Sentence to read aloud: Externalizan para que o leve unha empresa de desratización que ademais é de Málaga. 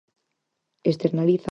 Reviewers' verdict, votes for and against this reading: rejected, 0, 6